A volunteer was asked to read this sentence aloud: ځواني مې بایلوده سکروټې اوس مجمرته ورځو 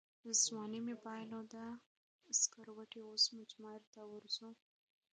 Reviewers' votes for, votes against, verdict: 3, 1, accepted